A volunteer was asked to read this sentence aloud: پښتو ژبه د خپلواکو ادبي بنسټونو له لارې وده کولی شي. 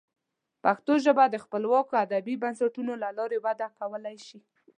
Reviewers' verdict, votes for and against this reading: accepted, 2, 0